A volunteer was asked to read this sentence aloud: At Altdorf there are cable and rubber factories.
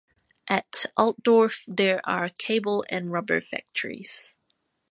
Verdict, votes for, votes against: accepted, 3, 0